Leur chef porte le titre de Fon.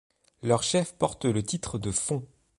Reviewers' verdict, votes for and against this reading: accepted, 2, 0